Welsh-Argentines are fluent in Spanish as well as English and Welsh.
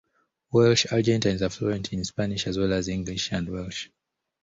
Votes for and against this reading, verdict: 2, 0, accepted